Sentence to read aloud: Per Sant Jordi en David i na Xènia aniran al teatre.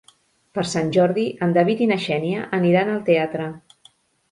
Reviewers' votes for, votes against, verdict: 4, 0, accepted